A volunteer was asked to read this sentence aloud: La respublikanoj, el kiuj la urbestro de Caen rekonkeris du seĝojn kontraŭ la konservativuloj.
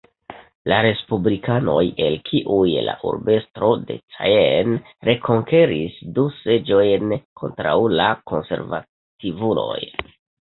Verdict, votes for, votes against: rejected, 1, 2